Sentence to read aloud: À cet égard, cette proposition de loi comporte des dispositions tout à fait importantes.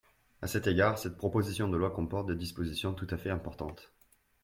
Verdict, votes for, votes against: accepted, 2, 0